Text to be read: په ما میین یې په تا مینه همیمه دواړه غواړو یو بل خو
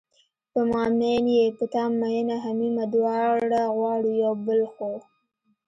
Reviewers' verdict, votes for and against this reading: accepted, 2, 0